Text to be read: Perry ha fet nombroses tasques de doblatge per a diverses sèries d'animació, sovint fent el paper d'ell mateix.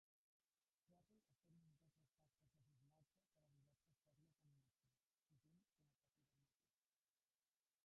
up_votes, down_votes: 1, 2